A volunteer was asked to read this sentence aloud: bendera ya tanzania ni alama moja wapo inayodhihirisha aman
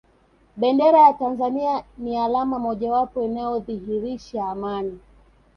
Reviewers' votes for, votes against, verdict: 1, 2, rejected